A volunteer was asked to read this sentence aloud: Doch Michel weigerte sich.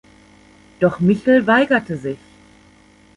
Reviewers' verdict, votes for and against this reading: accepted, 2, 0